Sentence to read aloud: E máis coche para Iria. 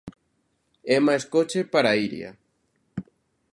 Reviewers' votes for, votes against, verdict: 2, 0, accepted